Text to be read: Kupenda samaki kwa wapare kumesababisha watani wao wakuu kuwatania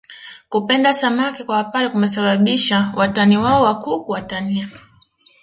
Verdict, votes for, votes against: rejected, 1, 2